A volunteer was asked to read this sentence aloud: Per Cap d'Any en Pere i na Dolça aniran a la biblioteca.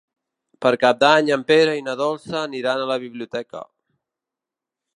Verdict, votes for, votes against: accepted, 3, 0